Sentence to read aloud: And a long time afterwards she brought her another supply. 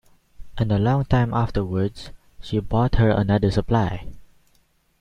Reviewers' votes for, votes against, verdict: 2, 1, accepted